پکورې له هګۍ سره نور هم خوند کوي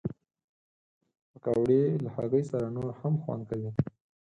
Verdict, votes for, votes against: rejected, 2, 4